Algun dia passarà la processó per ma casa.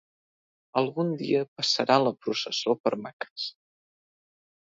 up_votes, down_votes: 0, 2